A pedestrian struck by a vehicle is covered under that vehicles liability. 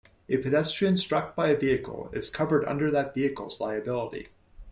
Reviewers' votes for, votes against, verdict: 2, 0, accepted